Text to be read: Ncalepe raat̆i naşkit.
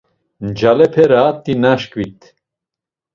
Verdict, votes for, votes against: accepted, 2, 0